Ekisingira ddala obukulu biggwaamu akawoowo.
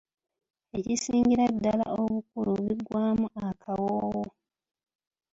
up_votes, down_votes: 2, 1